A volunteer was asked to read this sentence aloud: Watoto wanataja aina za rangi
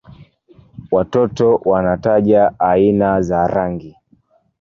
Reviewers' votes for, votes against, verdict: 1, 2, rejected